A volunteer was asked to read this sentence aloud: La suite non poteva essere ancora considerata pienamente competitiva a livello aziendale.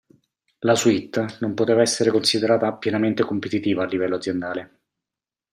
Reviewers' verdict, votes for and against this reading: rejected, 0, 2